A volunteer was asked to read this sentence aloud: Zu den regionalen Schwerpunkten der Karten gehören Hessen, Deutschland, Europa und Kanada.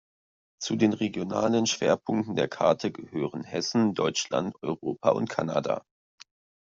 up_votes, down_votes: 2, 1